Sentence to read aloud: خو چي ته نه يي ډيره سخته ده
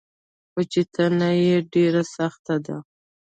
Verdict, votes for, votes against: rejected, 1, 2